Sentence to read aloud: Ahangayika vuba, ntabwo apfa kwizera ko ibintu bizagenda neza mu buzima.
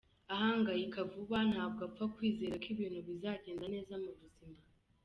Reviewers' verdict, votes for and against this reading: accepted, 2, 0